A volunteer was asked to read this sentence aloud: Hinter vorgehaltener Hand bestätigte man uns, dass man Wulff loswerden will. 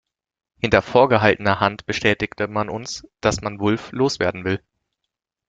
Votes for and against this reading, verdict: 2, 0, accepted